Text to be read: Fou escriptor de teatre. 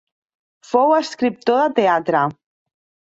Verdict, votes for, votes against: accepted, 3, 0